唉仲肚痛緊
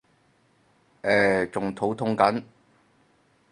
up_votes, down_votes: 0, 4